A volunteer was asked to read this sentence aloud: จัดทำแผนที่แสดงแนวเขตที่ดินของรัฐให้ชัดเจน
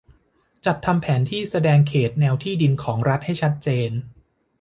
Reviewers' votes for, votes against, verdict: 1, 2, rejected